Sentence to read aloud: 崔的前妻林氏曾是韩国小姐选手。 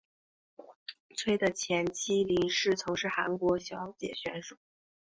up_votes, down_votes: 3, 2